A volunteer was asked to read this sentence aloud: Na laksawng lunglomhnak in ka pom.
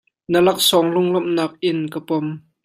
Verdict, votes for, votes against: accepted, 2, 0